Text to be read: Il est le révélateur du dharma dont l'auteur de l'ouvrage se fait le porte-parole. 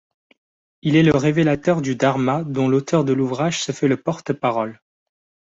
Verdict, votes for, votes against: accepted, 2, 0